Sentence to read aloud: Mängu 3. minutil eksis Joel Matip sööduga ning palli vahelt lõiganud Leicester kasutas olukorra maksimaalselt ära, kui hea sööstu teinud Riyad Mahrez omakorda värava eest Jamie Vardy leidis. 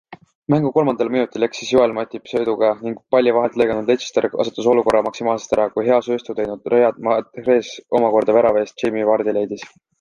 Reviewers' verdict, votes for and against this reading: rejected, 0, 2